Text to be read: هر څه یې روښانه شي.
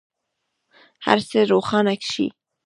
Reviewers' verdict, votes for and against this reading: accepted, 2, 0